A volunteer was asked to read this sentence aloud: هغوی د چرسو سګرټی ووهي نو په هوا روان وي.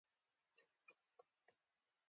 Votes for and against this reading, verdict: 2, 1, accepted